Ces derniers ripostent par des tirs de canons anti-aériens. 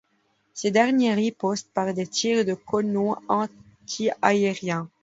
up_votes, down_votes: 0, 2